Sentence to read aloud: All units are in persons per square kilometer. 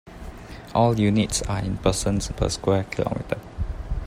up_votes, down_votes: 2, 0